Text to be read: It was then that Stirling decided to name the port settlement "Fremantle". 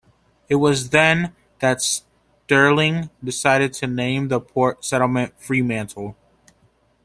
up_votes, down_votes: 2, 0